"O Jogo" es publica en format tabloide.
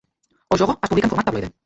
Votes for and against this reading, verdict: 0, 2, rejected